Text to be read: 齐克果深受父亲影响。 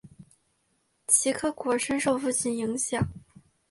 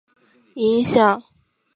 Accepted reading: first